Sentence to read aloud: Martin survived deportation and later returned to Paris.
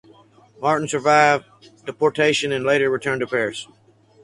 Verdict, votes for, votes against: accepted, 4, 0